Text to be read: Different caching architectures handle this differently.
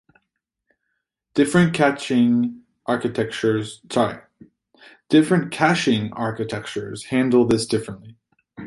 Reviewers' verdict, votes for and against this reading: rejected, 0, 2